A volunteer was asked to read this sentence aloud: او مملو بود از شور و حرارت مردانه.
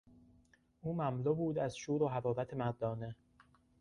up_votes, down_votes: 2, 0